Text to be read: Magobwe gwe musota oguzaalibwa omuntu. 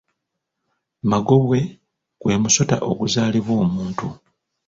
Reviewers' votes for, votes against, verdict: 1, 2, rejected